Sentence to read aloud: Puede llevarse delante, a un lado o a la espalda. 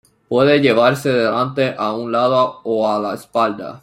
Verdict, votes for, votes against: accepted, 2, 1